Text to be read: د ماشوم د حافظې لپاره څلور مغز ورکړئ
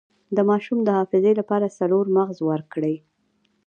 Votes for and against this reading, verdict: 0, 2, rejected